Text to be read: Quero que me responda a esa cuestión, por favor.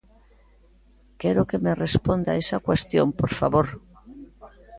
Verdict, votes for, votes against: accepted, 3, 0